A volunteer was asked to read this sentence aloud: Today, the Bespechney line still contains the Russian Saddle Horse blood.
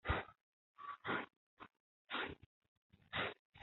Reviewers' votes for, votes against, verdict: 0, 2, rejected